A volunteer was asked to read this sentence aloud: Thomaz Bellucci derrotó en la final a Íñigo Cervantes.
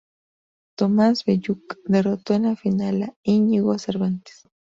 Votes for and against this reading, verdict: 0, 2, rejected